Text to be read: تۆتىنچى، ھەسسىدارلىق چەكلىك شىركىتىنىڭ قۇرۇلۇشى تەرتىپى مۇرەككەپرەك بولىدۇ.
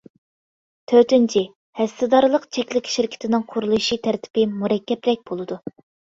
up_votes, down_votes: 2, 0